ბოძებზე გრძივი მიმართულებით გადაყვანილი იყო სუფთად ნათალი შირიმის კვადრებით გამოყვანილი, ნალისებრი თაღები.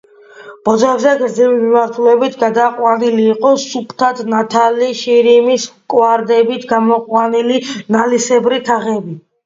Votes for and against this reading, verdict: 2, 0, accepted